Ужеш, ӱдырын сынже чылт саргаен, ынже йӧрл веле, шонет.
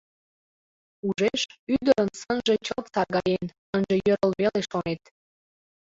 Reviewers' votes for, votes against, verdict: 0, 2, rejected